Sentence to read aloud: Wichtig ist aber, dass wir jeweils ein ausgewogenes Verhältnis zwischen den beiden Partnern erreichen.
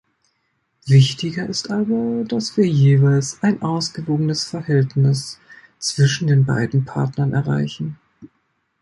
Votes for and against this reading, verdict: 0, 2, rejected